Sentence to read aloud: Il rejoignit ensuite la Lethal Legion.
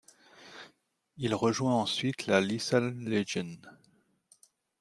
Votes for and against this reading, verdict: 1, 2, rejected